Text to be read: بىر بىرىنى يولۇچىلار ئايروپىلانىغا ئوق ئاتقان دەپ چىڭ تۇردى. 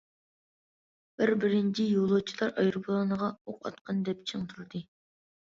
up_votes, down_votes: 1, 2